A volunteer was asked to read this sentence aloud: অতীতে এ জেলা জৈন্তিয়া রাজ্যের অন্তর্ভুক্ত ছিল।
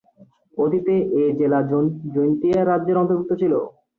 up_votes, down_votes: 2, 0